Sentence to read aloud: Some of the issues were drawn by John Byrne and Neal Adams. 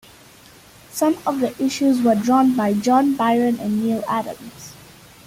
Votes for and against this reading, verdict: 2, 1, accepted